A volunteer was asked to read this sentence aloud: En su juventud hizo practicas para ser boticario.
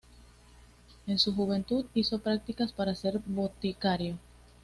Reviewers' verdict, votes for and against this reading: accepted, 2, 0